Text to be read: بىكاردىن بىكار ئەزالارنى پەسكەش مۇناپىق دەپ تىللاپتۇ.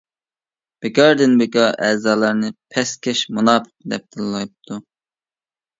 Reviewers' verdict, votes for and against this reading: rejected, 0, 2